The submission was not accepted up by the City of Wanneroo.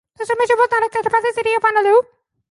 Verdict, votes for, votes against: rejected, 0, 2